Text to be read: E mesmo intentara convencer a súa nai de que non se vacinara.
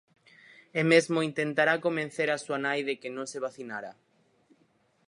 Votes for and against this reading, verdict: 0, 4, rejected